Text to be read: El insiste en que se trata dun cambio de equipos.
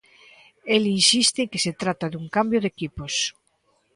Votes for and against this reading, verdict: 0, 2, rejected